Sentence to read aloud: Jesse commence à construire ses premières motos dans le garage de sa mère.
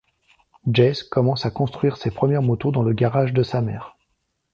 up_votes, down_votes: 2, 0